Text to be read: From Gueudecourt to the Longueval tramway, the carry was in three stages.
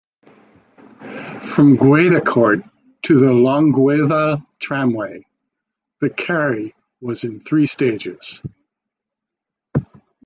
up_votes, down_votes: 2, 1